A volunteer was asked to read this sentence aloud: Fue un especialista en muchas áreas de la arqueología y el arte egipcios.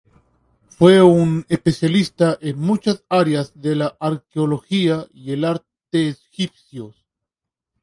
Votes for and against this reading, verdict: 0, 2, rejected